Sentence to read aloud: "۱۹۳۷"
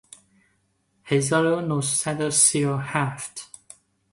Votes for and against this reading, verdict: 0, 2, rejected